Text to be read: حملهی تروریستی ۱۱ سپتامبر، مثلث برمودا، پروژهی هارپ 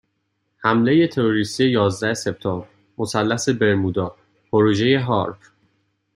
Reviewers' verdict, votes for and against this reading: rejected, 0, 2